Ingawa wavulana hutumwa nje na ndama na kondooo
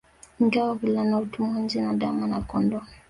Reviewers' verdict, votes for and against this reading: accepted, 2, 1